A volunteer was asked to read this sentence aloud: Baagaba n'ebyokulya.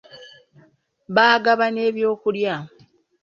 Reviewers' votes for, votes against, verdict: 2, 1, accepted